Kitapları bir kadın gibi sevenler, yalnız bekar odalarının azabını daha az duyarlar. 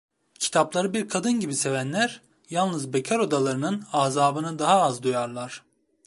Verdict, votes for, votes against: rejected, 1, 2